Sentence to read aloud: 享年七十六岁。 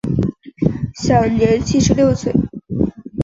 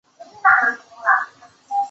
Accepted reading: first